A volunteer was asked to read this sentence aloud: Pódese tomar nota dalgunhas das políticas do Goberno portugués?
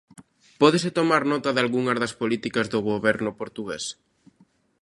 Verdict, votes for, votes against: accepted, 2, 0